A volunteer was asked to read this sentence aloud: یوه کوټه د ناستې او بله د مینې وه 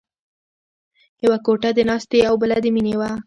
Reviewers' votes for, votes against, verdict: 1, 2, rejected